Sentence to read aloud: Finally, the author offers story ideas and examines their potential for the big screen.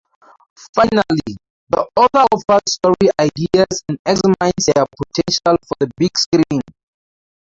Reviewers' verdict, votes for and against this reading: rejected, 0, 2